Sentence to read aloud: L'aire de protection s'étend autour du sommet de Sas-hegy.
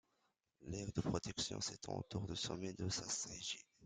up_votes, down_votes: 2, 3